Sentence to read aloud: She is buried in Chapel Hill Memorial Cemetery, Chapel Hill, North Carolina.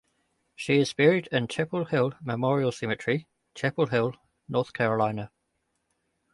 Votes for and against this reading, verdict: 2, 0, accepted